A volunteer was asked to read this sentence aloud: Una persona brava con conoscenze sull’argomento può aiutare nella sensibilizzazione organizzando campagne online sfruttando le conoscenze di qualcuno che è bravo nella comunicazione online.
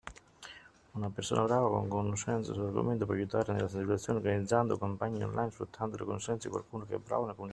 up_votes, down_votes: 0, 2